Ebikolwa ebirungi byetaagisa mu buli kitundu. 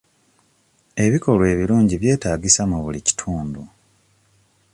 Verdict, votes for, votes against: accepted, 2, 0